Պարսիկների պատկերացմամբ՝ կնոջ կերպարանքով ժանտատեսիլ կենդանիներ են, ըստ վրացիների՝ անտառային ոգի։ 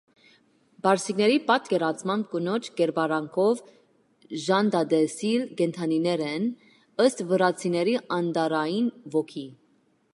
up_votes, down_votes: 2, 0